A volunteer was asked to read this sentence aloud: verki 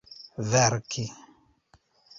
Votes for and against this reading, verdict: 1, 2, rejected